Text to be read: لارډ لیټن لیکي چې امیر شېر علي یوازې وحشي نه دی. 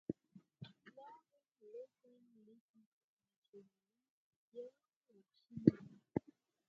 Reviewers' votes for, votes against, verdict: 2, 4, rejected